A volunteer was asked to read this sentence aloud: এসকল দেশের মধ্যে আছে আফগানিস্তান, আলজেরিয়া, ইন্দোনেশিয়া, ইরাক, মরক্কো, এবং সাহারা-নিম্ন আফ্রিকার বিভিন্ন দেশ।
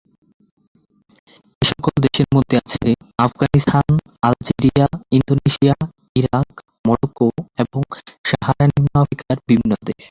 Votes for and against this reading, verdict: 1, 3, rejected